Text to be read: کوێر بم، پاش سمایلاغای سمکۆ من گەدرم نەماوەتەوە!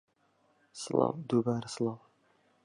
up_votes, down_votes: 0, 2